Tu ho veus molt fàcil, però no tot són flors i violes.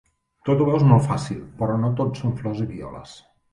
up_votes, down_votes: 0, 2